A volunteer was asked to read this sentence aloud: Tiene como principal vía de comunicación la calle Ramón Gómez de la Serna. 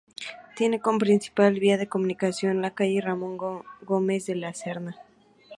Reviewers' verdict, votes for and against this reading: accepted, 2, 0